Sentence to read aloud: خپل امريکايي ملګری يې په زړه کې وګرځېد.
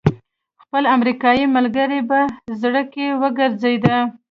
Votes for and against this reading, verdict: 0, 2, rejected